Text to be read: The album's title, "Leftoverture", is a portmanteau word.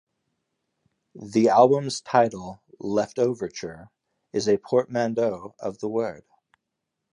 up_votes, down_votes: 3, 1